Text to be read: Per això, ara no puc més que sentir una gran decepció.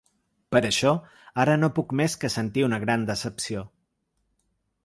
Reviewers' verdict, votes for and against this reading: accepted, 3, 0